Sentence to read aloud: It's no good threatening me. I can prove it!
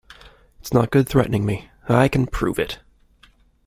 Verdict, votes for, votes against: rejected, 1, 2